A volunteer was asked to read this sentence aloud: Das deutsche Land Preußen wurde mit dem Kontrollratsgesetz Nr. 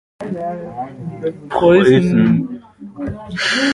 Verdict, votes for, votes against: rejected, 0, 2